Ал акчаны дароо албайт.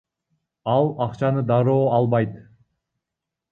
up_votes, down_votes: 0, 2